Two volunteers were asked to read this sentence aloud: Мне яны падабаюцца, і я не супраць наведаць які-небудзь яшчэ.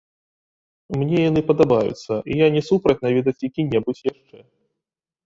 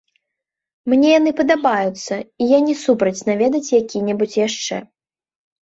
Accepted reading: second